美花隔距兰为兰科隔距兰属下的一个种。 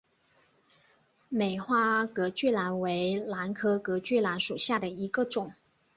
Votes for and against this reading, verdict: 2, 1, accepted